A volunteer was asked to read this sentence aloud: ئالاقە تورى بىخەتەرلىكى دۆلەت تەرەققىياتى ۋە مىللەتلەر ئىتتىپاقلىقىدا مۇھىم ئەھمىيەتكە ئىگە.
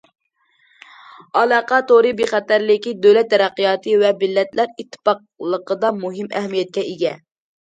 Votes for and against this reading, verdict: 2, 0, accepted